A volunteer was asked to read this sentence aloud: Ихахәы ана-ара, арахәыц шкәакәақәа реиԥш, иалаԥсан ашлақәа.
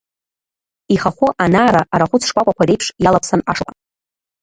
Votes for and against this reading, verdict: 1, 2, rejected